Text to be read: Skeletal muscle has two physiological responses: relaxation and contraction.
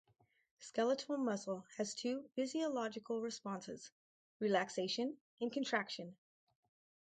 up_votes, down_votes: 4, 0